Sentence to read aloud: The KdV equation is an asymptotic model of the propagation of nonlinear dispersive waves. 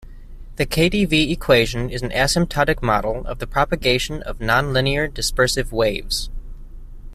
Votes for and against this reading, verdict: 2, 0, accepted